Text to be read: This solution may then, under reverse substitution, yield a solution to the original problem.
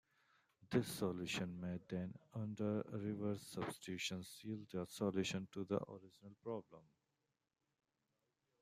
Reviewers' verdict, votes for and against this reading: rejected, 1, 3